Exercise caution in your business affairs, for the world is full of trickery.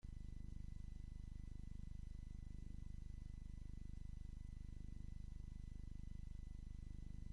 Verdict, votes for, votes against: rejected, 0, 2